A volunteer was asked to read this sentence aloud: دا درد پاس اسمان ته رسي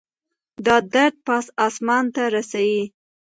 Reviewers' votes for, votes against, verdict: 1, 2, rejected